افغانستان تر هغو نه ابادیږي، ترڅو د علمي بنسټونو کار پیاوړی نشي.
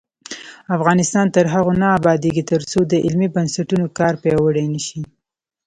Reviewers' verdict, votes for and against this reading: rejected, 1, 2